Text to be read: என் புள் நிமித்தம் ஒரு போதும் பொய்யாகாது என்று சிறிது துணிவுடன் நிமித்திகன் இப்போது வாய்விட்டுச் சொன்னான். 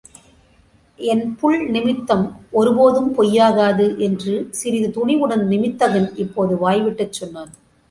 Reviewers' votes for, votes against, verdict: 2, 0, accepted